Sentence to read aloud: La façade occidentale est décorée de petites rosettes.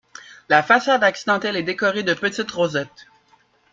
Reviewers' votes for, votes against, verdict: 0, 2, rejected